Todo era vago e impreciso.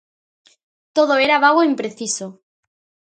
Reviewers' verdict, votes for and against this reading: accepted, 2, 0